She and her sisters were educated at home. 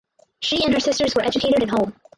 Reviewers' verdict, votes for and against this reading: rejected, 0, 4